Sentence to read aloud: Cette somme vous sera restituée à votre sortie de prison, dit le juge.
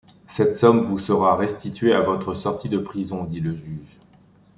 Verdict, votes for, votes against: accepted, 2, 0